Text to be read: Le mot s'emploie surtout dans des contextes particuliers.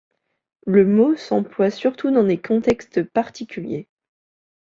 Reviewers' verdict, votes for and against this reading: accepted, 2, 0